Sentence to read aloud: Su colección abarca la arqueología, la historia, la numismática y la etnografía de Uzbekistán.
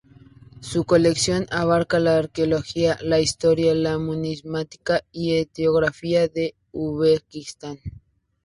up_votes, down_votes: 0, 2